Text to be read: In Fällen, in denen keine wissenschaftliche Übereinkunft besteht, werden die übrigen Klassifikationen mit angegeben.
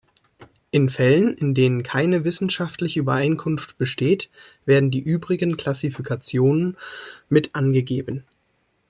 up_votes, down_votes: 2, 0